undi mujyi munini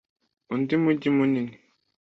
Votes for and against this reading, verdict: 2, 0, accepted